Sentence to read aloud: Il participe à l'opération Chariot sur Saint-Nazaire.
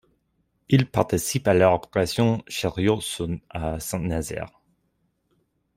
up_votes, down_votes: 0, 2